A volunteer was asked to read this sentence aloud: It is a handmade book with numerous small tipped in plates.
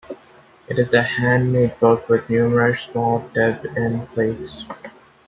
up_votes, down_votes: 2, 0